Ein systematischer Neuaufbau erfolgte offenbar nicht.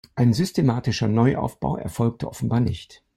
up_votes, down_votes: 2, 0